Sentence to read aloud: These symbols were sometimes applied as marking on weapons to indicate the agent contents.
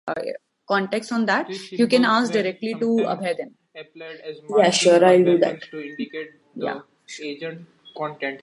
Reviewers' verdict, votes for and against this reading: rejected, 0, 2